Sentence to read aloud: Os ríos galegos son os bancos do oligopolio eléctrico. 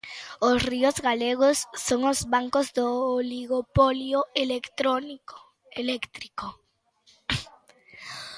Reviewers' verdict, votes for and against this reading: rejected, 0, 2